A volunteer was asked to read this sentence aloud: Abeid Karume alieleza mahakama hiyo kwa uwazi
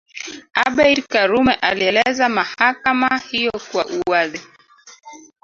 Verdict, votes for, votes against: rejected, 1, 3